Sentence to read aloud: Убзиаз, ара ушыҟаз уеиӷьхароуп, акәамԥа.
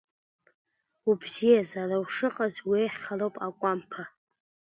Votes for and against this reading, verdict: 2, 0, accepted